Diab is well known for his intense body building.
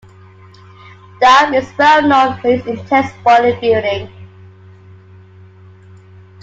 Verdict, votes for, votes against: accepted, 2, 1